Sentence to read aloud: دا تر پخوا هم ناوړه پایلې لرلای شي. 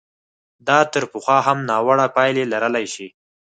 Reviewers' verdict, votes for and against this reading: accepted, 4, 0